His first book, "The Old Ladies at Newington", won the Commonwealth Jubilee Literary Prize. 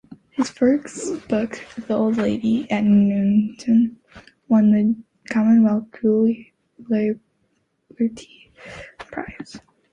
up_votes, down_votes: 1, 4